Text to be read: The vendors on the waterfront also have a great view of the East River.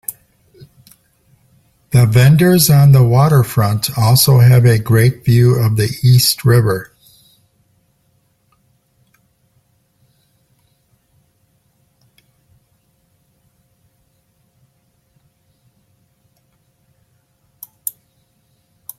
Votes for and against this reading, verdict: 3, 0, accepted